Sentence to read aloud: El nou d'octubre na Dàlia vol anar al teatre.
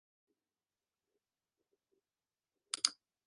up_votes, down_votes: 0, 2